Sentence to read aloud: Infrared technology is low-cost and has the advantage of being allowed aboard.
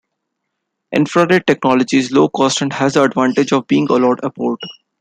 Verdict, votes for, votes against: rejected, 0, 2